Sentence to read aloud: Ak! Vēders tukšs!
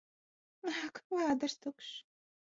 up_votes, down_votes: 1, 2